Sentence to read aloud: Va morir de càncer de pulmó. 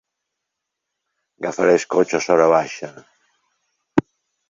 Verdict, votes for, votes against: rejected, 0, 2